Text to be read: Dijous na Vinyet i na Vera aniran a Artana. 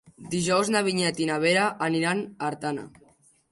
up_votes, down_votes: 3, 0